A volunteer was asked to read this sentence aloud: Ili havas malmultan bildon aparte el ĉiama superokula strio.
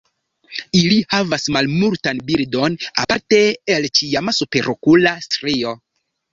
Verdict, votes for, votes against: rejected, 0, 2